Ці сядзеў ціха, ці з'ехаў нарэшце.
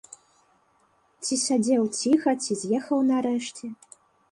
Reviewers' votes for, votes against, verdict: 2, 0, accepted